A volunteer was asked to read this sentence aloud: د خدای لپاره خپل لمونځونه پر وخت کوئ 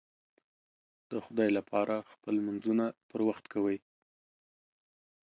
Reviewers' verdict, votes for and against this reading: accepted, 2, 0